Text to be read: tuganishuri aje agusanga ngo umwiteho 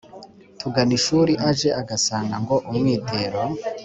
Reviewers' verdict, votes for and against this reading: rejected, 0, 2